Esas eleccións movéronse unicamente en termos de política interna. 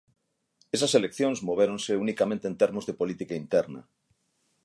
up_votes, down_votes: 6, 0